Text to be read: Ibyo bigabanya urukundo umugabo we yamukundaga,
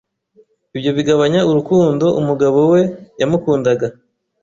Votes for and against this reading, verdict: 2, 0, accepted